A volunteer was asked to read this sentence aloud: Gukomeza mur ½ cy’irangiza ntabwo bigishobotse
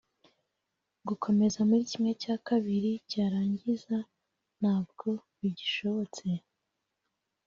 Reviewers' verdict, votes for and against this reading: rejected, 1, 2